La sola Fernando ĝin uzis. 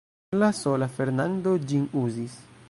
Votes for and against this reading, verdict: 1, 2, rejected